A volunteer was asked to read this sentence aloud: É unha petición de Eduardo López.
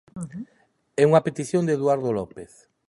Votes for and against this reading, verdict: 2, 0, accepted